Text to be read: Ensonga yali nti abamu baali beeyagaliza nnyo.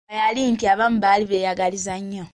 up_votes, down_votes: 0, 3